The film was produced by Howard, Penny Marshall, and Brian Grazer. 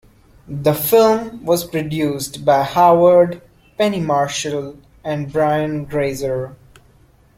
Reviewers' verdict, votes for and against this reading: accepted, 2, 0